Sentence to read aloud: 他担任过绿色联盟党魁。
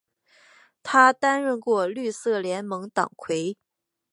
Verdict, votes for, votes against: accepted, 3, 0